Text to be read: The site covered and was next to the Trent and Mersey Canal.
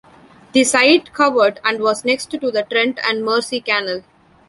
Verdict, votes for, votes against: rejected, 1, 2